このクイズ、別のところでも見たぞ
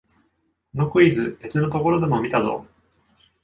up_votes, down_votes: 2, 0